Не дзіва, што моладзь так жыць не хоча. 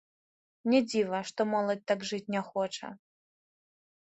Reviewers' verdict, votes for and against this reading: rejected, 1, 2